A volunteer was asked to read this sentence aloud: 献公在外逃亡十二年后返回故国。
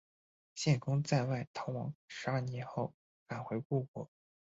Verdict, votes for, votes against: accepted, 2, 1